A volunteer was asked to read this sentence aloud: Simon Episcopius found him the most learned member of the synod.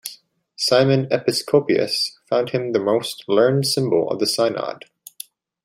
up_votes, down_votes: 0, 2